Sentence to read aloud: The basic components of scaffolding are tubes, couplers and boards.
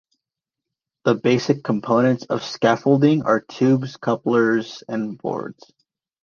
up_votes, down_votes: 2, 0